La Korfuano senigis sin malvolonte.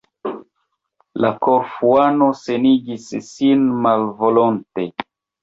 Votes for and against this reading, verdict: 1, 2, rejected